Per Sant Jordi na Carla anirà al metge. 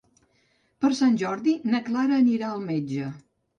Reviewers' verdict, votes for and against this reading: rejected, 0, 2